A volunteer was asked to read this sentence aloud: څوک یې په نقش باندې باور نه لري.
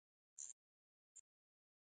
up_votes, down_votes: 0, 4